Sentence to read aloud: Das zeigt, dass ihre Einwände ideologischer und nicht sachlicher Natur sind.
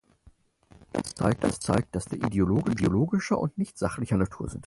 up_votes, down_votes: 0, 4